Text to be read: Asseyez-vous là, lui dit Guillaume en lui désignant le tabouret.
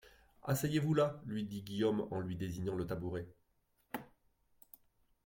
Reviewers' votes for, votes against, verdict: 0, 2, rejected